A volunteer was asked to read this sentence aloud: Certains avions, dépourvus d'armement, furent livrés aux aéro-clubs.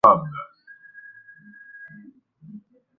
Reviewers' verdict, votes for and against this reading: rejected, 0, 2